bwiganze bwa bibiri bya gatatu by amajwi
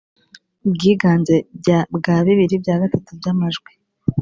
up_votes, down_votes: 0, 2